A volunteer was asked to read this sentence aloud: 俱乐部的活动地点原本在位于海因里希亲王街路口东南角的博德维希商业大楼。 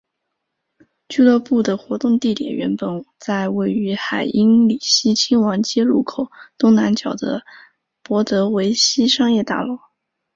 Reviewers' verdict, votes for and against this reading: accepted, 3, 0